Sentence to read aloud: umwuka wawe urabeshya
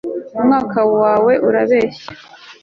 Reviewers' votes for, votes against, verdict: 2, 0, accepted